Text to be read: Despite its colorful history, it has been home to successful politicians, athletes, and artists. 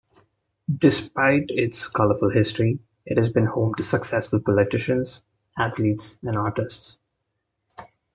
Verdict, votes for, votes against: accepted, 2, 0